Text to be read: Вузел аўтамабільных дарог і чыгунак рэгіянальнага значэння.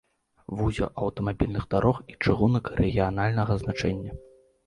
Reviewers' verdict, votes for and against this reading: accepted, 2, 0